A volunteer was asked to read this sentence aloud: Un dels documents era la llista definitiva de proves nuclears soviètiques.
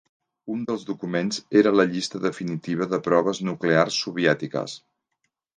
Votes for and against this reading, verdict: 2, 0, accepted